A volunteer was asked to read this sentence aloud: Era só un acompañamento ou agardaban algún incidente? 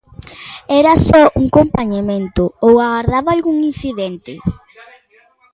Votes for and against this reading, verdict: 0, 2, rejected